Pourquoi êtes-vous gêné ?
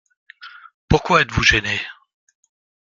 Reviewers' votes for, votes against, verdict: 2, 0, accepted